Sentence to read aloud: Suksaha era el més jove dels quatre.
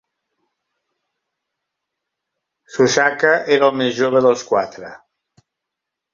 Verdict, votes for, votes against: rejected, 1, 2